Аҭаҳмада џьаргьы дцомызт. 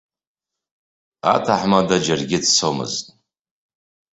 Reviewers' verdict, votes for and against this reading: accepted, 2, 0